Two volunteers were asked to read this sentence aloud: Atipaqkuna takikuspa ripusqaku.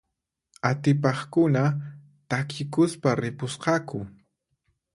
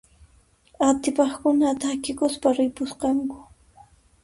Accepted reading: first